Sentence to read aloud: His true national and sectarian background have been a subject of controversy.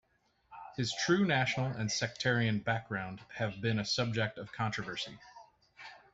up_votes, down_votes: 2, 0